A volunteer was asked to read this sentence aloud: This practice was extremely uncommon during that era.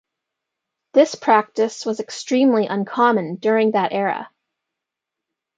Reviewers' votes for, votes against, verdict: 2, 0, accepted